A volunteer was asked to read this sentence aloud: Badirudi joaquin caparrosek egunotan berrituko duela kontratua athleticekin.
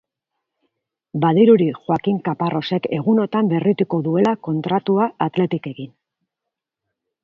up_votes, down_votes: 2, 0